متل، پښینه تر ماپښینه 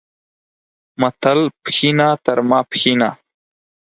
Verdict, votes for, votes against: accepted, 4, 0